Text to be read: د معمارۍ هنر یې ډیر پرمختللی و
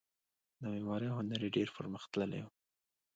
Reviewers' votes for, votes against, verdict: 2, 0, accepted